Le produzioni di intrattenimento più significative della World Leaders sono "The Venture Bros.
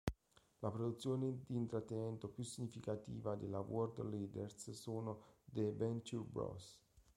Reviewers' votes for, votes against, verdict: 1, 2, rejected